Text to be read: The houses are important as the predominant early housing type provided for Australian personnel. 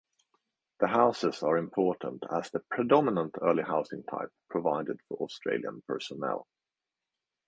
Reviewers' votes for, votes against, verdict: 2, 0, accepted